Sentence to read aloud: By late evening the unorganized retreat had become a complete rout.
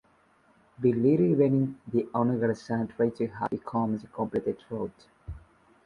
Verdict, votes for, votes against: rejected, 1, 2